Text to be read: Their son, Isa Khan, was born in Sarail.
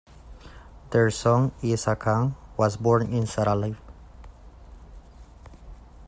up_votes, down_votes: 2, 1